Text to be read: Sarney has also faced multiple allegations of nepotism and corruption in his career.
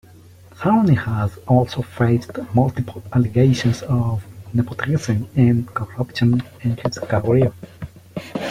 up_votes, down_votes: 2, 0